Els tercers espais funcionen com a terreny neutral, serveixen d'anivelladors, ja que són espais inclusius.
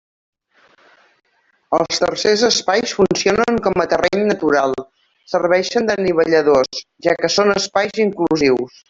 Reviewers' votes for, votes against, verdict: 0, 2, rejected